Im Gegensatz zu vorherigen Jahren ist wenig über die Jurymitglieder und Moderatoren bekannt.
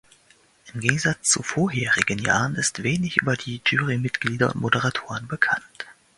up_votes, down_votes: 2, 0